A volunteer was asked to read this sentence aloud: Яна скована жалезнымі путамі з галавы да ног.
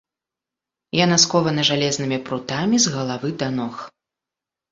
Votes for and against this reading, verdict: 0, 2, rejected